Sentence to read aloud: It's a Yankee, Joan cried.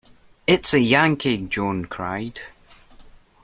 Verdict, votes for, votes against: accepted, 2, 0